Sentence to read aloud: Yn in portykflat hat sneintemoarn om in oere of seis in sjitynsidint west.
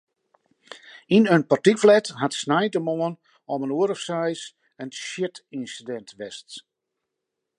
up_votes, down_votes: 2, 0